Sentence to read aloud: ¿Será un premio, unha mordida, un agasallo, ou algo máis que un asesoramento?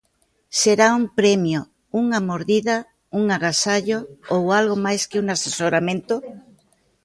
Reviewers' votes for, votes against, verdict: 2, 0, accepted